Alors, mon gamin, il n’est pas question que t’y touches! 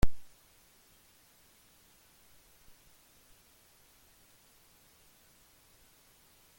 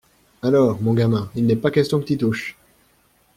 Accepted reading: second